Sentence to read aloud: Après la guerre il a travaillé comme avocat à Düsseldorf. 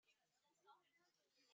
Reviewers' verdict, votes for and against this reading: rejected, 0, 2